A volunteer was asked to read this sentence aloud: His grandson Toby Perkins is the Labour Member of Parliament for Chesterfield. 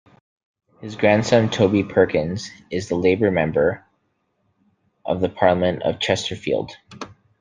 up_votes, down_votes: 2, 0